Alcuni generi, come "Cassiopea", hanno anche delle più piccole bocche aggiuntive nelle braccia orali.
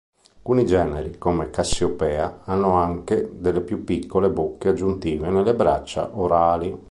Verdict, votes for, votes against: rejected, 0, 2